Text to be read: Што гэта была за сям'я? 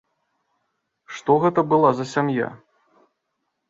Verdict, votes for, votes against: accepted, 2, 0